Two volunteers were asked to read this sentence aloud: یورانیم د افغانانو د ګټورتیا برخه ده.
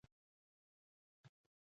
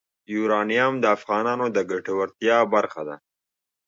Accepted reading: second